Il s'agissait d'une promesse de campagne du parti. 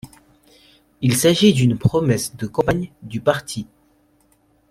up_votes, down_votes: 0, 2